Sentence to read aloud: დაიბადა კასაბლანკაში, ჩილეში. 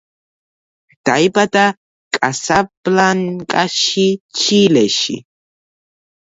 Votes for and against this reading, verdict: 0, 2, rejected